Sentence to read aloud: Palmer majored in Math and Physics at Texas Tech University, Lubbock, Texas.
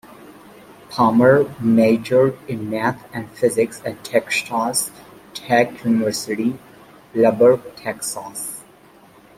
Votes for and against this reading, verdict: 2, 1, accepted